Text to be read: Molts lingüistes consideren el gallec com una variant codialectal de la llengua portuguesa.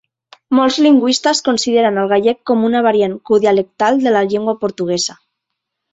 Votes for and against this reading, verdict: 3, 1, accepted